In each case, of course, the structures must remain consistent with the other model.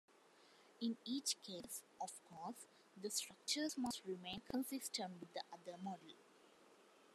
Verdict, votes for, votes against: accepted, 2, 0